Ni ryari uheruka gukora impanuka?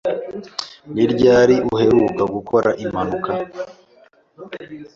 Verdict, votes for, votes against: accepted, 2, 0